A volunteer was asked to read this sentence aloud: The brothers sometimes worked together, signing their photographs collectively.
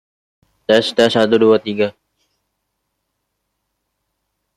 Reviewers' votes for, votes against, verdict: 0, 2, rejected